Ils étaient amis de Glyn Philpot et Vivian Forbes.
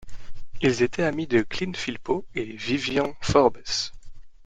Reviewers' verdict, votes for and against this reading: rejected, 1, 2